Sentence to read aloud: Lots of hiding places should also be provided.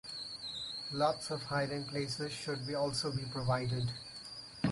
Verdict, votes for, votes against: rejected, 0, 4